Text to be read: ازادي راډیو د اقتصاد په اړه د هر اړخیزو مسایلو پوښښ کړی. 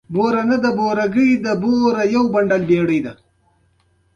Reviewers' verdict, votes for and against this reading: rejected, 0, 2